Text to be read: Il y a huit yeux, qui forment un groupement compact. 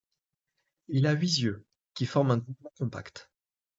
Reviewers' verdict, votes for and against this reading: rejected, 0, 2